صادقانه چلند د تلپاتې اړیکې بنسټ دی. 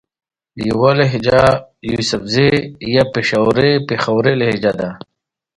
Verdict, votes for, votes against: rejected, 0, 2